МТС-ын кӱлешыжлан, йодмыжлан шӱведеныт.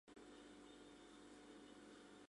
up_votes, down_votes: 0, 3